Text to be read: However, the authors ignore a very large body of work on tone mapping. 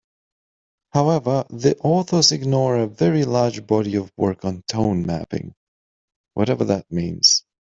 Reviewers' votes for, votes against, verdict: 0, 3, rejected